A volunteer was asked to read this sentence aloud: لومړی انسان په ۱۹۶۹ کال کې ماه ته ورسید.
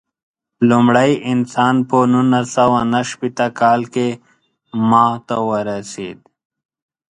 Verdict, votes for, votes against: rejected, 0, 2